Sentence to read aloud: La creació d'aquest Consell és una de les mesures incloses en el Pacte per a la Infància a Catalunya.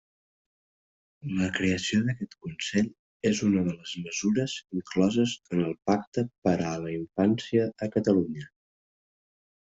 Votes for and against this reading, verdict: 0, 2, rejected